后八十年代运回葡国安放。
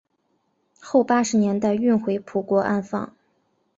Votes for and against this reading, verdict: 2, 0, accepted